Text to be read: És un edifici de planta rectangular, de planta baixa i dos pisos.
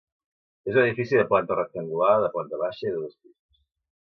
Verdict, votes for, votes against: rejected, 1, 2